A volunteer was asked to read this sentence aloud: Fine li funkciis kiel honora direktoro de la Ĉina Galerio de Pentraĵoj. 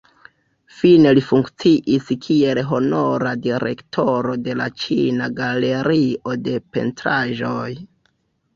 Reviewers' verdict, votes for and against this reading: rejected, 1, 2